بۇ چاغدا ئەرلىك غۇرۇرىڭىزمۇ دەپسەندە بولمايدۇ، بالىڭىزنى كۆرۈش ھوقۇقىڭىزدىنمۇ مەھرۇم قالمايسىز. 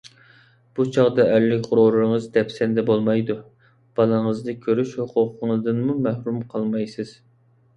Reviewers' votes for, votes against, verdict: 0, 2, rejected